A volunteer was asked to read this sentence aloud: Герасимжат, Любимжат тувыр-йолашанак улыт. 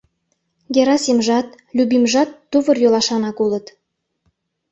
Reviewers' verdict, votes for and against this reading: accepted, 2, 0